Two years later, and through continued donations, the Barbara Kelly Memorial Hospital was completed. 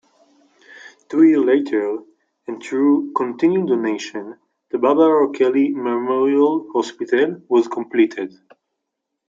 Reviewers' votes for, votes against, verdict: 0, 2, rejected